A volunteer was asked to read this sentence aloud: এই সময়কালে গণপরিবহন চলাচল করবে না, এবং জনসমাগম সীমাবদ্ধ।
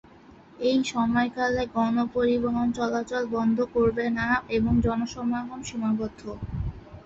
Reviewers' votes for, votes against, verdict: 0, 2, rejected